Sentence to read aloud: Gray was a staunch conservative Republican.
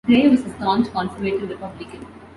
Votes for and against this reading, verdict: 0, 2, rejected